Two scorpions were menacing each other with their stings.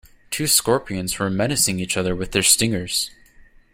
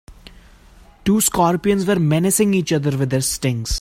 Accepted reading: second